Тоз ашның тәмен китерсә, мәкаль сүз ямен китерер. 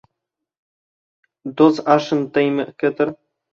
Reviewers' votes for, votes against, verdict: 0, 2, rejected